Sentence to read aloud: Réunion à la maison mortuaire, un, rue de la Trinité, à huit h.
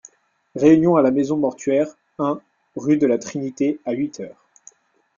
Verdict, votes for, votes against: rejected, 0, 2